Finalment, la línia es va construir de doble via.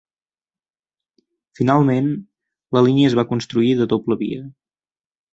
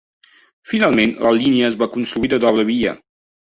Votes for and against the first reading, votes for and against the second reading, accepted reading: 2, 0, 0, 2, first